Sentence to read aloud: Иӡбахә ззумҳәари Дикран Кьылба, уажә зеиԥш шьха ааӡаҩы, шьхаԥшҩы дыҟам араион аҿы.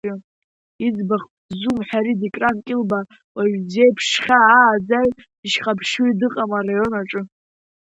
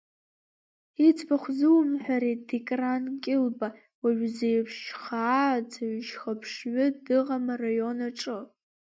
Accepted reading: second